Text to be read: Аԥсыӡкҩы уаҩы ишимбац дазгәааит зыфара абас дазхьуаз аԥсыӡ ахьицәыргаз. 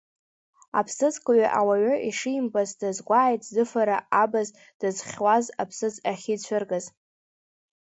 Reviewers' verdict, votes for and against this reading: rejected, 1, 3